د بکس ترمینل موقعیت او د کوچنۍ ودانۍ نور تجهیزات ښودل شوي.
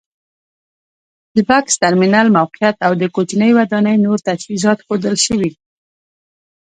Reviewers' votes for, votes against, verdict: 2, 0, accepted